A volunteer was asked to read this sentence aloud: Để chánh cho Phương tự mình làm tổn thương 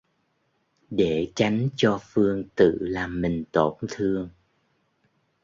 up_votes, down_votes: 1, 2